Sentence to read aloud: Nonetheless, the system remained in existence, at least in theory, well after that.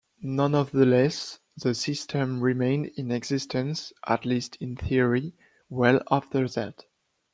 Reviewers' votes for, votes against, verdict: 0, 2, rejected